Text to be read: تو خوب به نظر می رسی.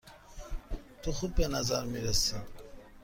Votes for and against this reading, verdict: 2, 0, accepted